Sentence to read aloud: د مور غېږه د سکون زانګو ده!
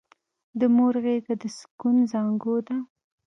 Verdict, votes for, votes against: accepted, 2, 1